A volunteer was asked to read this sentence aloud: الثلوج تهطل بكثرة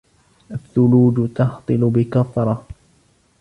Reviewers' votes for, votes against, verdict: 2, 1, accepted